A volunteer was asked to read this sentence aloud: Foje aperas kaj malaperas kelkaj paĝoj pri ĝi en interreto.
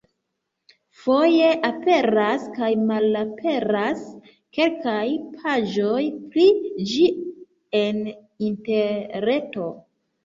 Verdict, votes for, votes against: rejected, 0, 2